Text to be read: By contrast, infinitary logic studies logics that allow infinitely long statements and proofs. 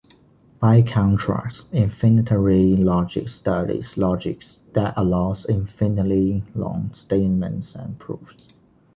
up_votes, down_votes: 0, 2